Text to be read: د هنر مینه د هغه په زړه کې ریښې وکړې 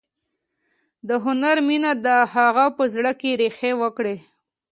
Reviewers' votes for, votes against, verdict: 2, 0, accepted